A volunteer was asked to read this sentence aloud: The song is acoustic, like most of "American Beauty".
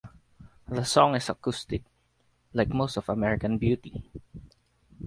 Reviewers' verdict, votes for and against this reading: rejected, 2, 4